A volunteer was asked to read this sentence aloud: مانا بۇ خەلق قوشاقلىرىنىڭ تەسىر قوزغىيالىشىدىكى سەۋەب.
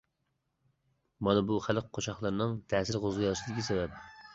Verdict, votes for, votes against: rejected, 1, 2